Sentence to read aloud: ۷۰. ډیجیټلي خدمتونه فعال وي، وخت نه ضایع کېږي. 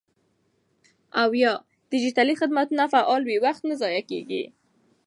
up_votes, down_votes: 0, 2